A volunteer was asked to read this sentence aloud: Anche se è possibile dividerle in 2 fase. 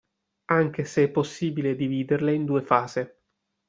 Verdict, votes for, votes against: rejected, 0, 2